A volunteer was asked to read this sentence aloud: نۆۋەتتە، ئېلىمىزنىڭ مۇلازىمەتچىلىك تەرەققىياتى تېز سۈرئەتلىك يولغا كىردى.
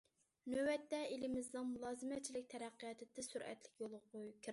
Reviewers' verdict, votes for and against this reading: rejected, 0, 2